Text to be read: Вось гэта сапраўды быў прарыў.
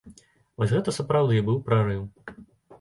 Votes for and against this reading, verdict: 2, 0, accepted